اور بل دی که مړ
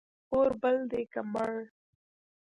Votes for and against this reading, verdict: 0, 2, rejected